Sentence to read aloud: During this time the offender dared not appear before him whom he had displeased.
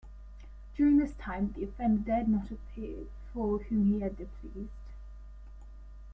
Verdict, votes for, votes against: rejected, 0, 2